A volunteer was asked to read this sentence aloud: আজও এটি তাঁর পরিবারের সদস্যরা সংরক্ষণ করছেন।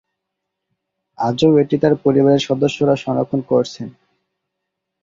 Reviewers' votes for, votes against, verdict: 1, 2, rejected